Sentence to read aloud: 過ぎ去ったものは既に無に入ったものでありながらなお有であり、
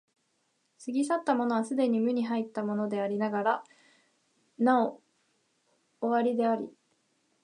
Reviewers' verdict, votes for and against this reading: rejected, 0, 2